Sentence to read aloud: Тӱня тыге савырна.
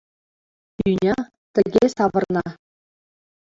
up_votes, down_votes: 0, 2